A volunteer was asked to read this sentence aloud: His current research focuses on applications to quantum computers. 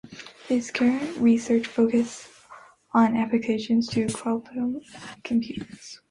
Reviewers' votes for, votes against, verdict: 0, 2, rejected